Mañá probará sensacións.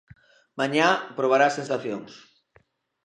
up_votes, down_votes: 2, 0